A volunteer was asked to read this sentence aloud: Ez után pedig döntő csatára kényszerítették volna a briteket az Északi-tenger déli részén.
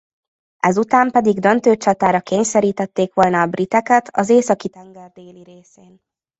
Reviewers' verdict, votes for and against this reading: rejected, 0, 2